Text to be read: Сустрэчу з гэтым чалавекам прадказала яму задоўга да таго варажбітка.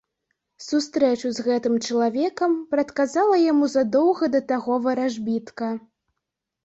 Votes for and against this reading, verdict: 2, 0, accepted